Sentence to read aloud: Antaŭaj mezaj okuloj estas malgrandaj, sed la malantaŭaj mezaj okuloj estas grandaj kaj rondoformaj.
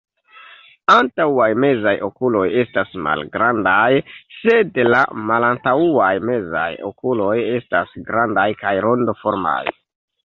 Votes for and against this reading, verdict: 2, 0, accepted